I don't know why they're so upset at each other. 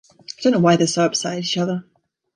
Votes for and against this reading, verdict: 2, 0, accepted